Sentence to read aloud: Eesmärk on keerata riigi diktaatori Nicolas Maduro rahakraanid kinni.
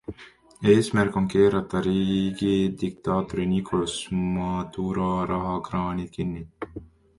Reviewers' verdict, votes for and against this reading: rejected, 0, 2